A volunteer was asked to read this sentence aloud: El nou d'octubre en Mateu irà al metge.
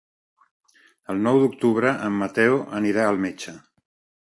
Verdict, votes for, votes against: rejected, 1, 2